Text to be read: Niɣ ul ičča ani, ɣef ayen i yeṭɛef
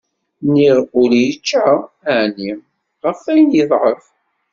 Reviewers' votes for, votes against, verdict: 1, 2, rejected